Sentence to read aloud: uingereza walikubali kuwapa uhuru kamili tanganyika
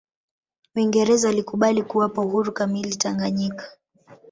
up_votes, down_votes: 2, 0